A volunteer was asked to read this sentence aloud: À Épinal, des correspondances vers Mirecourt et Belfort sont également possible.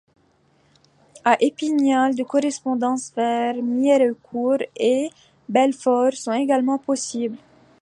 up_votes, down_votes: 2, 0